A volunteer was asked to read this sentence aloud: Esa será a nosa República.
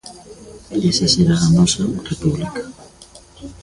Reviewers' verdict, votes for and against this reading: rejected, 1, 2